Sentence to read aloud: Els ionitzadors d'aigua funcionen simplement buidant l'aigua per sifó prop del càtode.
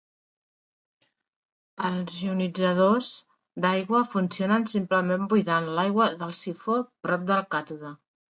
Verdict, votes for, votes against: accepted, 2, 0